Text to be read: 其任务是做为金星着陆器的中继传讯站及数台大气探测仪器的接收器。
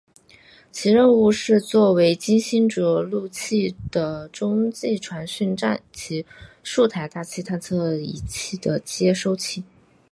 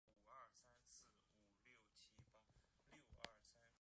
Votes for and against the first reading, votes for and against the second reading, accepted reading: 2, 0, 0, 2, first